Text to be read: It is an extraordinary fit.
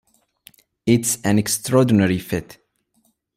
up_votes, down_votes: 2, 3